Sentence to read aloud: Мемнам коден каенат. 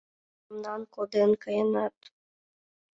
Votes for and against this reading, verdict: 2, 0, accepted